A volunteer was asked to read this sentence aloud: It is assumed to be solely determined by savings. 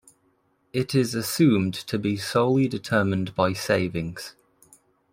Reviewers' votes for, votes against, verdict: 0, 2, rejected